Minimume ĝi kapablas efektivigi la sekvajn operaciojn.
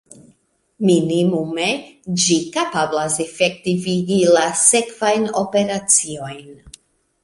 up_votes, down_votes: 2, 0